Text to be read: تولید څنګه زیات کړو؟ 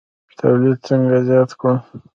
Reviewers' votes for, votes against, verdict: 0, 2, rejected